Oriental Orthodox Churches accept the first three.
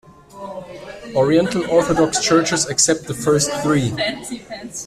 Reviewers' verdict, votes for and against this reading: rejected, 1, 2